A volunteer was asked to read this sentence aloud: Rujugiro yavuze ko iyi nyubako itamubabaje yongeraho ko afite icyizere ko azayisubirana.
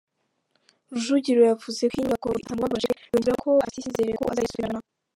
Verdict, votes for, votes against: rejected, 1, 3